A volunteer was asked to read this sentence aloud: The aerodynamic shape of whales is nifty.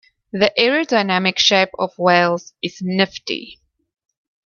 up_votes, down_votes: 2, 0